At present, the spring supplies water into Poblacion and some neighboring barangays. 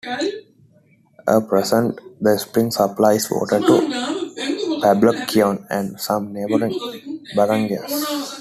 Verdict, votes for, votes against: accepted, 2, 0